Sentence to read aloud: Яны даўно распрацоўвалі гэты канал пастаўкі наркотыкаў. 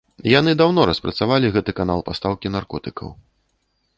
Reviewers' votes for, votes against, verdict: 0, 2, rejected